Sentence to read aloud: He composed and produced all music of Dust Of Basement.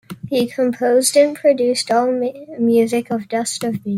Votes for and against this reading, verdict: 0, 2, rejected